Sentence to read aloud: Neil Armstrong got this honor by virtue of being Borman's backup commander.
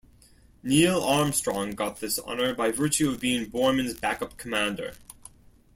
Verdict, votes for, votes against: accepted, 2, 0